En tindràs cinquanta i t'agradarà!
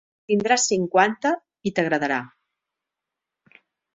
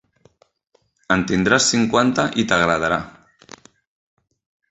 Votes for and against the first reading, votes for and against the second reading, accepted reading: 0, 2, 2, 0, second